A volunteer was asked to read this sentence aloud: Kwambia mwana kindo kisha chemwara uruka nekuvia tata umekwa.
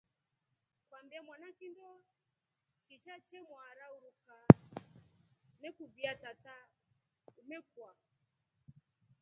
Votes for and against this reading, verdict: 1, 2, rejected